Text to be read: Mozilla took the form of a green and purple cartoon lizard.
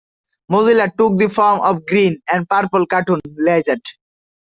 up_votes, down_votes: 0, 2